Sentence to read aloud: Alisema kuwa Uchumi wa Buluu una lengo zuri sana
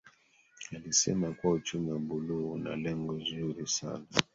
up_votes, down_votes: 1, 2